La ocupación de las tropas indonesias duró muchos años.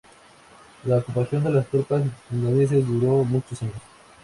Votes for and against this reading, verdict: 2, 0, accepted